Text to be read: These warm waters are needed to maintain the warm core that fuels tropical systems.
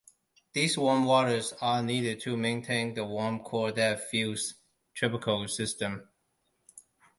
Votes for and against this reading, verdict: 2, 0, accepted